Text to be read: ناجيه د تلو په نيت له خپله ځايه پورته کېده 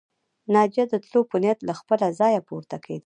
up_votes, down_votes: 1, 2